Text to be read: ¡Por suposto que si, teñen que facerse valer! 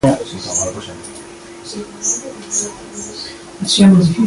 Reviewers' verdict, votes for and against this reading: rejected, 0, 2